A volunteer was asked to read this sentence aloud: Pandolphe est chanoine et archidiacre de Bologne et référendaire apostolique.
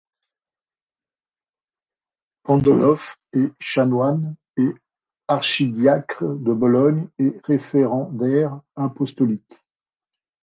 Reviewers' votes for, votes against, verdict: 1, 2, rejected